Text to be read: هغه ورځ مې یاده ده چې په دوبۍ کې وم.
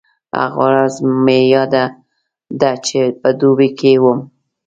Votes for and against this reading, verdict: 0, 2, rejected